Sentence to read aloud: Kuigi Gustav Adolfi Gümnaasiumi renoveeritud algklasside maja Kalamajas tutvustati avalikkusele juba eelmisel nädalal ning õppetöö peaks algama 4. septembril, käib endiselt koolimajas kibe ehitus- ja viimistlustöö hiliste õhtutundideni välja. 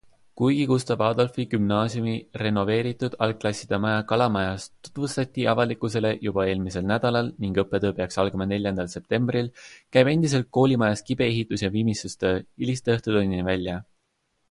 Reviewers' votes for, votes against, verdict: 0, 2, rejected